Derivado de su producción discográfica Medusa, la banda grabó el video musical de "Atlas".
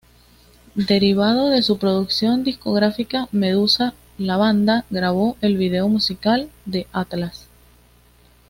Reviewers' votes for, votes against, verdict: 2, 0, accepted